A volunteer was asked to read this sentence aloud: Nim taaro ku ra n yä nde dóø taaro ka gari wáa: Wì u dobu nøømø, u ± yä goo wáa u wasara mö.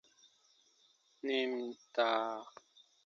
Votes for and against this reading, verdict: 0, 2, rejected